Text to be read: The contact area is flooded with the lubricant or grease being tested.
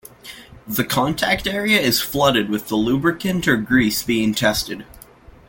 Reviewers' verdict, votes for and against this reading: accepted, 2, 0